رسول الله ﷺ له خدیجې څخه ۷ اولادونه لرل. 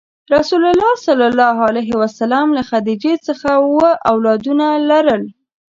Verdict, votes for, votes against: rejected, 0, 2